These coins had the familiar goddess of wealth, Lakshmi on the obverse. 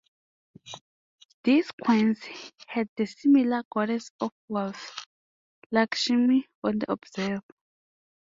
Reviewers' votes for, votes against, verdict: 1, 2, rejected